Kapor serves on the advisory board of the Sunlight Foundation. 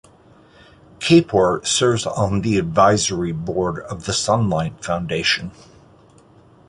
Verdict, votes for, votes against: accepted, 2, 0